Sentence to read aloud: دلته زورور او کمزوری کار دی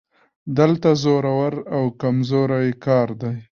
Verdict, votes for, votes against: accepted, 2, 1